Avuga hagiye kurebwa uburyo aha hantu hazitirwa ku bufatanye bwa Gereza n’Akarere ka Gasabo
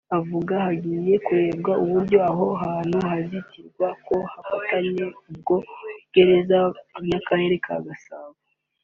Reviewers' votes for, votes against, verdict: 1, 2, rejected